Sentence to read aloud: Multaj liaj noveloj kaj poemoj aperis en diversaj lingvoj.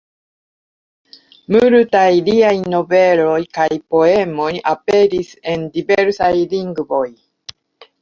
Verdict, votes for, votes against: rejected, 1, 2